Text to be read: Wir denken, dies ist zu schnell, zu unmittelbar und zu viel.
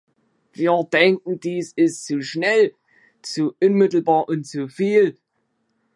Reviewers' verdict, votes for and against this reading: accepted, 2, 0